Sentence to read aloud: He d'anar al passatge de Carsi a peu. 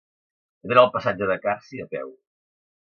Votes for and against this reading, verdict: 1, 2, rejected